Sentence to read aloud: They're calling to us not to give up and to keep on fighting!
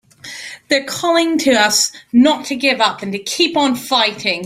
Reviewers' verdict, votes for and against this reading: accepted, 2, 0